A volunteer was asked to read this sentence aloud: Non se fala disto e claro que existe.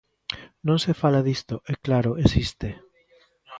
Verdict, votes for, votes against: rejected, 1, 2